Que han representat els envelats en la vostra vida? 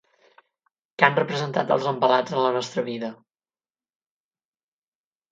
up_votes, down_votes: 4, 4